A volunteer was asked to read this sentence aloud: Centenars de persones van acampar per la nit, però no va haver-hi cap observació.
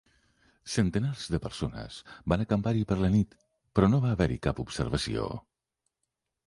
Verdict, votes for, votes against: rejected, 0, 2